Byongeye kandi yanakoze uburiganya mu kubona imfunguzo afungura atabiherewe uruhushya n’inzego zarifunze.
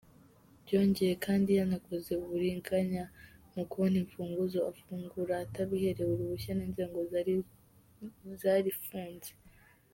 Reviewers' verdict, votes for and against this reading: rejected, 1, 2